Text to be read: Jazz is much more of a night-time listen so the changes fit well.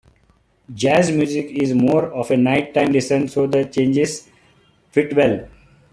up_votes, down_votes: 0, 2